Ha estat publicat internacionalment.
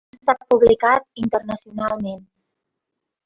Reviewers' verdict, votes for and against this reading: rejected, 1, 2